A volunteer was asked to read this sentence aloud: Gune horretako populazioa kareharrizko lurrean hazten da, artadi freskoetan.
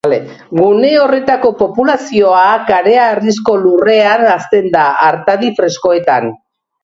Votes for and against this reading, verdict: 2, 1, accepted